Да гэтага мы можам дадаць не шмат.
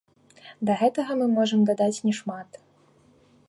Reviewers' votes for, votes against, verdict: 2, 0, accepted